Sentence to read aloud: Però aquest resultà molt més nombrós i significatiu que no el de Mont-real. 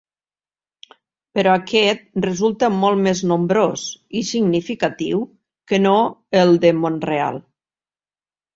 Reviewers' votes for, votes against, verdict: 0, 2, rejected